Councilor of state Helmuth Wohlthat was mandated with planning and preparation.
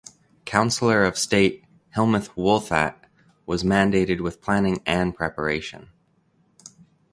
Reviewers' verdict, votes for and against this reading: accepted, 2, 0